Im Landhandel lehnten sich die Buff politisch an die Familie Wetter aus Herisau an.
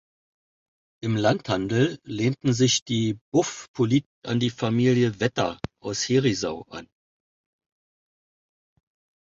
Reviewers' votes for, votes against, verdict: 0, 2, rejected